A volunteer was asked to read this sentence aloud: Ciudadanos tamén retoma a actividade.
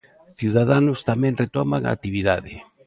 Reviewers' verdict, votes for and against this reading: rejected, 0, 2